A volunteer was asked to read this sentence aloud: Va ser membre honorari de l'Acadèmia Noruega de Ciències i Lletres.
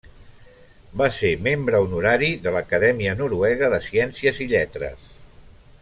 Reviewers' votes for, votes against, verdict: 4, 0, accepted